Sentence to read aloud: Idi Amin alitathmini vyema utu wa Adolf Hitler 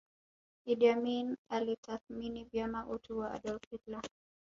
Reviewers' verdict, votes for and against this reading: rejected, 0, 2